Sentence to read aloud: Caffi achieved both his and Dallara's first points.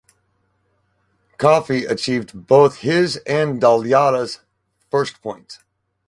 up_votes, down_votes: 2, 2